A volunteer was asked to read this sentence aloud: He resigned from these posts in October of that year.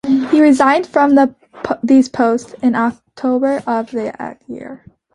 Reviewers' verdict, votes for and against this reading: rejected, 0, 2